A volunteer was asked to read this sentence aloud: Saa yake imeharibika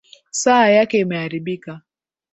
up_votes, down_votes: 2, 0